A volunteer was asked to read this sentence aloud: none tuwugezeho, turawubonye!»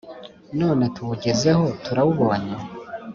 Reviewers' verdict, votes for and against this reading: accepted, 2, 0